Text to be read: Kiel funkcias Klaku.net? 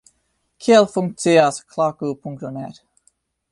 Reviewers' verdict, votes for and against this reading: rejected, 0, 2